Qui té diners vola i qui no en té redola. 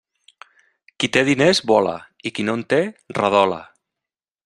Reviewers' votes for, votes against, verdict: 3, 1, accepted